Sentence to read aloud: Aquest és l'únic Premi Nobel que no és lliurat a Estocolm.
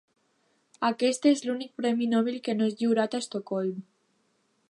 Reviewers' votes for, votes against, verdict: 2, 0, accepted